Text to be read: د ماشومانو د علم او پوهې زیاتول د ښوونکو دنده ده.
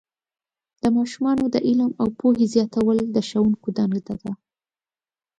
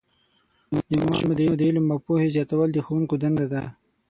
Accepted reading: first